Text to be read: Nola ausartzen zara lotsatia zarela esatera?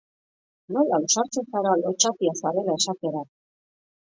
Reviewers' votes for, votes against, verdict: 2, 0, accepted